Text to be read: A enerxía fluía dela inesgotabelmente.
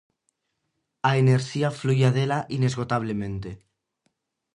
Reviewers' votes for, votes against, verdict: 0, 4, rejected